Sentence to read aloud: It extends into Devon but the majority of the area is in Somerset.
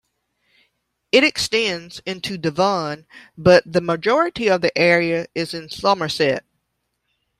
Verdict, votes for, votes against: rejected, 0, 2